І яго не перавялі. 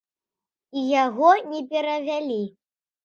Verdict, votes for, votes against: accepted, 2, 0